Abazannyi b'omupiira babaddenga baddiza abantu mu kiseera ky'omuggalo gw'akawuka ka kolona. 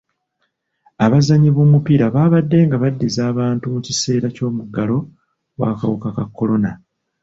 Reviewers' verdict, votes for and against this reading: rejected, 1, 2